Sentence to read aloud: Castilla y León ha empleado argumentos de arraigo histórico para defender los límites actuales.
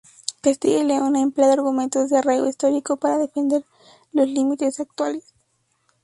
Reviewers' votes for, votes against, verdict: 2, 0, accepted